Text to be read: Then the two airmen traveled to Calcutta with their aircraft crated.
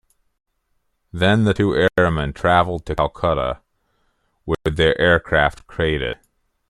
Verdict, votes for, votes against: rejected, 1, 2